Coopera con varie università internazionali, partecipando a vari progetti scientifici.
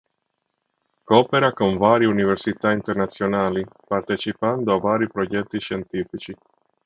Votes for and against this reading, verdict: 3, 0, accepted